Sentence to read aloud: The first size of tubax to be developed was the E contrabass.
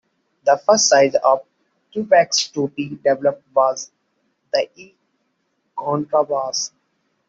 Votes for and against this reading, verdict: 2, 0, accepted